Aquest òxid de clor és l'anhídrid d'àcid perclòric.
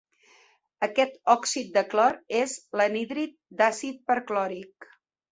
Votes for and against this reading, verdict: 2, 0, accepted